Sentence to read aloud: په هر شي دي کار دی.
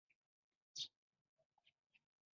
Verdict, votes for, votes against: rejected, 0, 2